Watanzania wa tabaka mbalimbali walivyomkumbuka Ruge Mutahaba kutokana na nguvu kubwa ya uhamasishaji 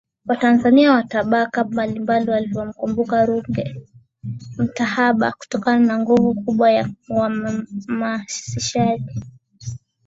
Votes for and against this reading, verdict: 12, 0, accepted